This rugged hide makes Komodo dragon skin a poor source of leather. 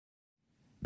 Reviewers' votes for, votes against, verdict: 0, 2, rejected